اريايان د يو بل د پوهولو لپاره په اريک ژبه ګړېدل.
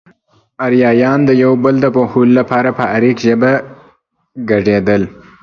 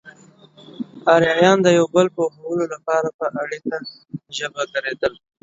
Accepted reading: first